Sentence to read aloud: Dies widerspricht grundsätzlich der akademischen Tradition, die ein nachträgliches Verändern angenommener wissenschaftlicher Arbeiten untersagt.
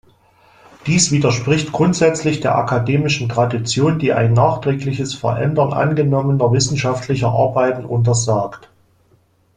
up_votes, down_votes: 2, 0